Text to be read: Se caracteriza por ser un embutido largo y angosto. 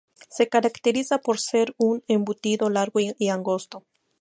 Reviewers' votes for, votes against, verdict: 0, 2, rejected